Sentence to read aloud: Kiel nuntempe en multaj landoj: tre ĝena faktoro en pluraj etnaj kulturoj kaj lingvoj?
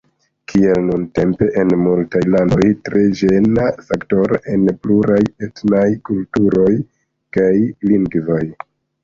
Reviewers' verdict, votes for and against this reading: accepted, 2, 0